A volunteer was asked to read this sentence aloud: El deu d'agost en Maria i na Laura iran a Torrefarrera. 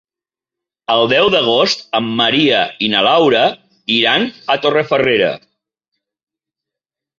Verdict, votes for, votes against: rejected, 0, 2